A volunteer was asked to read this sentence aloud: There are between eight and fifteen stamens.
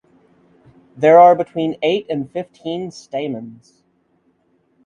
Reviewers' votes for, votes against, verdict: 6, 0, accepted